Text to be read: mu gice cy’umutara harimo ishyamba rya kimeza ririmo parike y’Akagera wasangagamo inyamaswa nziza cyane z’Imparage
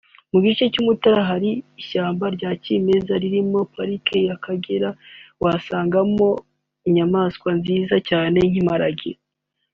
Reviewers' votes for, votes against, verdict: 2, 1, accepted